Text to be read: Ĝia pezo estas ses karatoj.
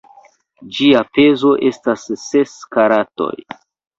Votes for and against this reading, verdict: 0, 2, rejected